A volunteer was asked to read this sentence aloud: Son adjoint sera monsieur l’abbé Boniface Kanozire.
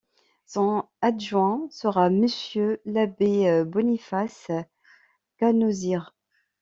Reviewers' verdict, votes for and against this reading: rejected, 0, 2